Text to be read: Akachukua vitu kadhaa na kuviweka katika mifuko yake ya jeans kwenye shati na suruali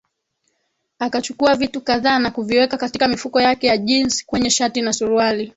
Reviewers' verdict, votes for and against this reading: accepted, 22, 2